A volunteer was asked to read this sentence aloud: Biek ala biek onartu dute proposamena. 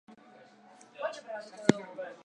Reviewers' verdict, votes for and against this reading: rejected, 0, 3